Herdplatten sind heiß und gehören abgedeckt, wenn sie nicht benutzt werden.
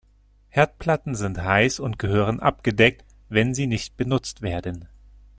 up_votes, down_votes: 2, 0